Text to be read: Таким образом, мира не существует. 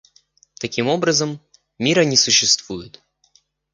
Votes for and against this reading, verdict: 2, 0, accepted